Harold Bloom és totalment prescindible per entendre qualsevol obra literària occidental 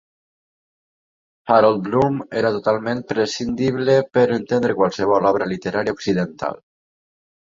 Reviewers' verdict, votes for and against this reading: accepted, 2, 0